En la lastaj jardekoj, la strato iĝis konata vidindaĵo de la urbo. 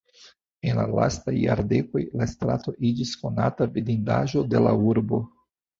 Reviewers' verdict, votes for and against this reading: accepted, 2, 0